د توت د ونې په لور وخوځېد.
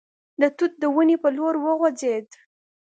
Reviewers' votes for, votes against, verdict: 2, 0, accepted